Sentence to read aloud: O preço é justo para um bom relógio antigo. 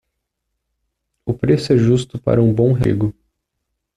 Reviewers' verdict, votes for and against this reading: rejected, 0, 2